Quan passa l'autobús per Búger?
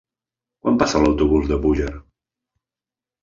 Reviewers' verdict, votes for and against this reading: rejected, 1, 2